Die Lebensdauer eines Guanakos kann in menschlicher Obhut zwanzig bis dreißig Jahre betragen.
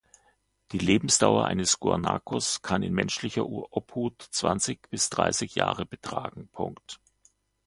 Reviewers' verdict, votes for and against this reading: rejected, 1, 2